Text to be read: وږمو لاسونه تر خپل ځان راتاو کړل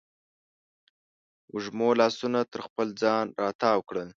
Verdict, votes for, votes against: accepted, 2, 0